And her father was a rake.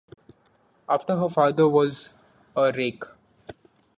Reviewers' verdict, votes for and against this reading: rejected, 0, 2